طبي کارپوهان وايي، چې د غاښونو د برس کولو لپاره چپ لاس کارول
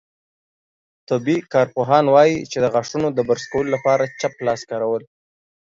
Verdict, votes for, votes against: accepted, 2, 0